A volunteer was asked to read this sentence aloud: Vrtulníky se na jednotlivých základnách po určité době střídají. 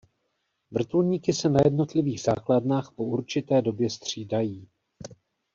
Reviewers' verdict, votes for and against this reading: accepted, 2, 0